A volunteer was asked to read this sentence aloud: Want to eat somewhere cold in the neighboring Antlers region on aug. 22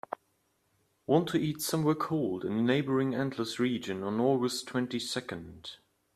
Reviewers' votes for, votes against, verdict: 0, 2, rejected